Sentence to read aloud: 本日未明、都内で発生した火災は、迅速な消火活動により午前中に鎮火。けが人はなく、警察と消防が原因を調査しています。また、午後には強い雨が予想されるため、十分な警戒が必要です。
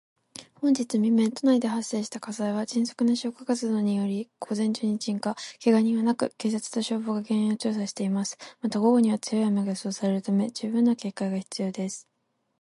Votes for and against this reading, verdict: 4, 0, accepted